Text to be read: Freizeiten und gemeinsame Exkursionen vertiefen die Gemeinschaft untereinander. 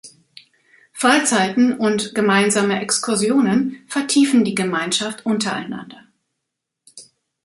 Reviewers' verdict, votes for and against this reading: accepted, 2, 0